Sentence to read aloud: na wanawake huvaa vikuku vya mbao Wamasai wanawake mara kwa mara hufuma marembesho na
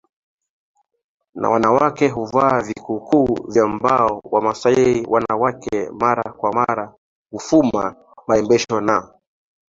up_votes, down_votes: 2, 1